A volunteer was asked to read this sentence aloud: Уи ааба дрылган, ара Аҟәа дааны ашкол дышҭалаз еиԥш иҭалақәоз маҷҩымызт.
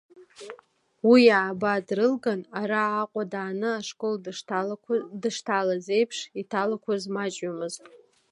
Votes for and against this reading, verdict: 0, 2, rejected